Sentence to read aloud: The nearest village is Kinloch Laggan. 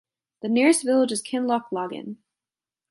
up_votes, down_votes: 2, 0